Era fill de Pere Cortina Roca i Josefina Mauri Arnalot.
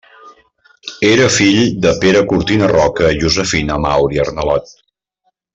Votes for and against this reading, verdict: 2, 0, accepted